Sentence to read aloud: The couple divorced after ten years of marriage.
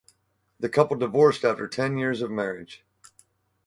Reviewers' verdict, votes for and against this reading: accepted, 4, 0